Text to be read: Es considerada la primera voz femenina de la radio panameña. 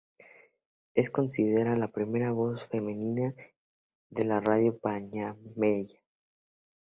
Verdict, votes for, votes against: rejected, 0, 2